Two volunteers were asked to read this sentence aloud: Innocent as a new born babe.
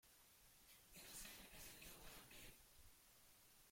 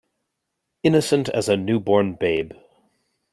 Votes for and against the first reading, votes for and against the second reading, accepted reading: 0, 2, 2, 0, second